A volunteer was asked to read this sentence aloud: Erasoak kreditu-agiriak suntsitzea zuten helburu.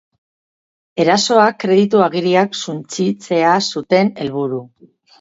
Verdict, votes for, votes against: rejected, 2, 2